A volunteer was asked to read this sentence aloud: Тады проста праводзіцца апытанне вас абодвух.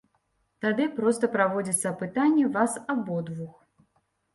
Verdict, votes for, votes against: accepted, 2, 0